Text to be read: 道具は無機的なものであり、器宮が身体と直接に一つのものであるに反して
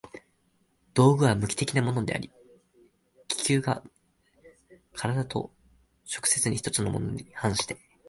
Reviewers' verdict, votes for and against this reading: accepted, 2, 1